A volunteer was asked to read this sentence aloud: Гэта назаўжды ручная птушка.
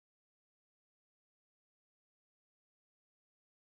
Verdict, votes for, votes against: rejected, 0, 3